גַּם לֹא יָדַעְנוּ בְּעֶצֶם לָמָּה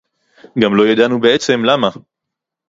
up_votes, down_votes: 2, 0